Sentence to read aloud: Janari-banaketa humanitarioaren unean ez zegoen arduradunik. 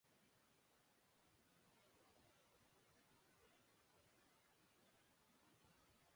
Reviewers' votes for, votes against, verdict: 0, 5, rejected